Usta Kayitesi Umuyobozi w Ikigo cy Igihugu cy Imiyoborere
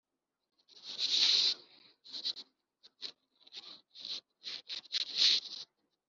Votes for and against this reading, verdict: 0, 3, rejected